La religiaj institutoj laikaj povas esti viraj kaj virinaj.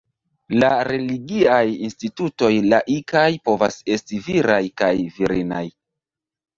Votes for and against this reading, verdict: 1, 2, rejected